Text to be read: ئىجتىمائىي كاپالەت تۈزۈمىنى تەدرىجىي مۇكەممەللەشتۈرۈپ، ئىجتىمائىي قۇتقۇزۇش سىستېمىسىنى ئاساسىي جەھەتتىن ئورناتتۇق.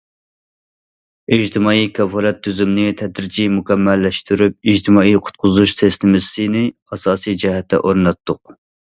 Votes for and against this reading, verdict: 0, 2, rejected